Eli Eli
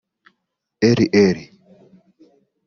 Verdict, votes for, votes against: rejected, 0, 2